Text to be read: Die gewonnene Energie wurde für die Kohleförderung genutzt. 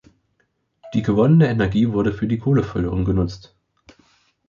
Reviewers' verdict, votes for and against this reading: accepted, 2, 0